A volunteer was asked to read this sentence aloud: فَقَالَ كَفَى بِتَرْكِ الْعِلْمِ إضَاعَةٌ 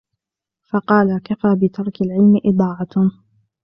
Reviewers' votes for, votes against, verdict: 2, 0, accepted